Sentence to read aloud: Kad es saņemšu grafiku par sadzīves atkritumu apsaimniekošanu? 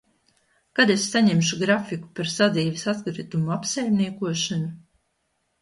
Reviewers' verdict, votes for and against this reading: accepted, 2, 0